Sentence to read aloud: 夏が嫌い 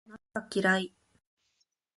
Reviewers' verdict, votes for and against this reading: accepted, 2, 1